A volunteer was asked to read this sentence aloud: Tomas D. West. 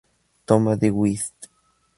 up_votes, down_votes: 0, 2